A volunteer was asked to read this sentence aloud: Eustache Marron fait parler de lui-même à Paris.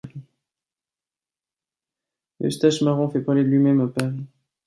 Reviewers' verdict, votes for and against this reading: rejected, 0, 2